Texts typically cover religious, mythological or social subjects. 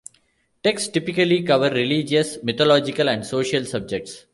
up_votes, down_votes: 1, 2